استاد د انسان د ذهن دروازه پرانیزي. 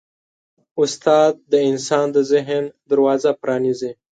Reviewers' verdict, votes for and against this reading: accepted, 2, 0